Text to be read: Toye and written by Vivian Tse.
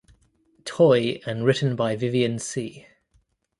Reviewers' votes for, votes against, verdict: 2, 0, accepted